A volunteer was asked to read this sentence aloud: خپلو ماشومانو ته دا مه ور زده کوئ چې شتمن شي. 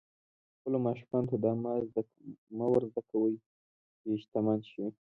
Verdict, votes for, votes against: rejected, 1, 2